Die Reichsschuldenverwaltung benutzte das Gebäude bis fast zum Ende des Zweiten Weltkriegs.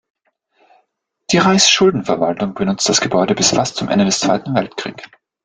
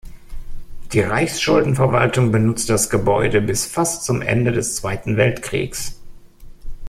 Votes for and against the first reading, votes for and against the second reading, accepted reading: 1, 2, 3, 1, second